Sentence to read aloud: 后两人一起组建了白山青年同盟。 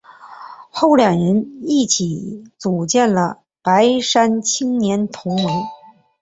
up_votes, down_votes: 2, 0